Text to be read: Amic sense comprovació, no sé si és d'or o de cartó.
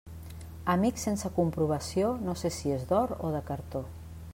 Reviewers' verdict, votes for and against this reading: accepted, 3, 0